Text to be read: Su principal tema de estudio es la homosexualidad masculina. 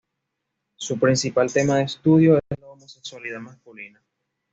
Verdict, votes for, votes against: rejected, 1, 2